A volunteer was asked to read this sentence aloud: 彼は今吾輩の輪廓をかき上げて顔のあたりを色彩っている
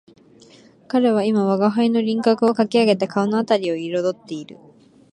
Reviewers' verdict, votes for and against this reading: accepted, 3, 0